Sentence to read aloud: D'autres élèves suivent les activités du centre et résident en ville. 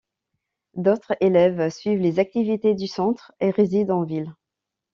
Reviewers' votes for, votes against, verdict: 2, 0, accepted